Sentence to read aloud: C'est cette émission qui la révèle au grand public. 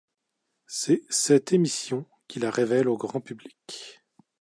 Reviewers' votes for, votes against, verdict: 2, 0, accepted